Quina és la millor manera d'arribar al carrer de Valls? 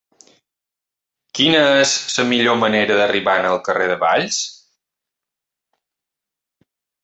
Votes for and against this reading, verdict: 0, 3, rejected